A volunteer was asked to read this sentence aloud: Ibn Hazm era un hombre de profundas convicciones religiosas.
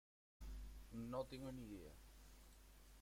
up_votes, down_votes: 0, 2